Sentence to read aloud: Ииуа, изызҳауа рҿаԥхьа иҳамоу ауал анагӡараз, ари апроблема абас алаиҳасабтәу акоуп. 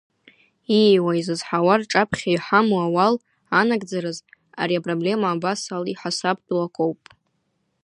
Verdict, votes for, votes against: accepted, 2, 0